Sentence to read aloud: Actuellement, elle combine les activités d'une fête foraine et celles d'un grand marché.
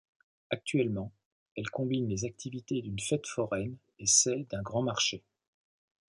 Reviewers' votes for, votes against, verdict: 2, 0, accepted